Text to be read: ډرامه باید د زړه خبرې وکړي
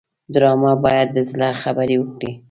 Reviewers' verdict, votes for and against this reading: accepted, 2, 0